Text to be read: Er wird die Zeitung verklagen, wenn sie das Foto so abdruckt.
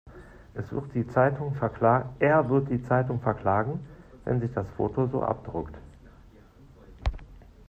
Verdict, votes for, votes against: rejected, 0, 2